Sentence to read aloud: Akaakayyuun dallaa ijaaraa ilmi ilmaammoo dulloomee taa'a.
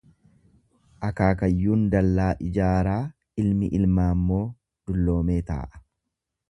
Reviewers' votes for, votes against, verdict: 2, 0, accepted